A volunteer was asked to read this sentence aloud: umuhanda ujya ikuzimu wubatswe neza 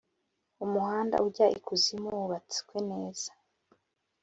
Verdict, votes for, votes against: accepted, 3, 0